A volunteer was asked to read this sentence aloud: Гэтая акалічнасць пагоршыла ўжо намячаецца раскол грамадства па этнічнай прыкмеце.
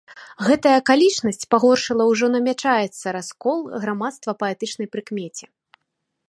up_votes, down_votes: 0, 2